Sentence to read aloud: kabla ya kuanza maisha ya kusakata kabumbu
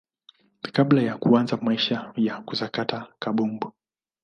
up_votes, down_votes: 2, 0